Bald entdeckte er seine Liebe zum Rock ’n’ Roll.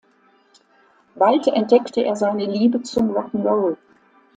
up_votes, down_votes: 2, 0